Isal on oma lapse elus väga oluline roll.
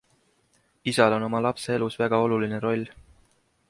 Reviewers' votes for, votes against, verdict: 3, 0, accepted